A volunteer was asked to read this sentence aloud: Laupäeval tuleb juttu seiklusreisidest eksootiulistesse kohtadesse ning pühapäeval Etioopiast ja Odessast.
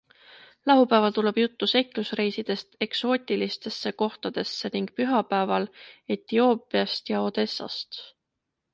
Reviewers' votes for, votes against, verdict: 2, 0, accepted